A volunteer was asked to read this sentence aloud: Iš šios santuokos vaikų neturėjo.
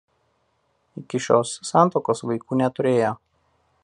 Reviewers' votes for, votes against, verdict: 1, 2, rejected